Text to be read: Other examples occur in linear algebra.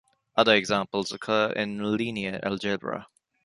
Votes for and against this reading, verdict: 2, 0, accepted